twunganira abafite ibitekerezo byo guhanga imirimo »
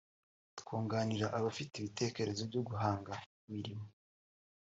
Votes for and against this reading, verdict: 0, 2, rejected